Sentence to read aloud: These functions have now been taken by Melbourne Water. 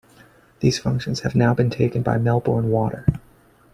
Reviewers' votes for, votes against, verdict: 2, 0, accepted